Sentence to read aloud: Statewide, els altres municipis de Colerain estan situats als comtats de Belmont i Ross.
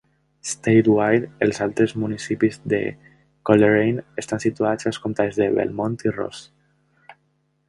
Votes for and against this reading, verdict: 2, 0, accepted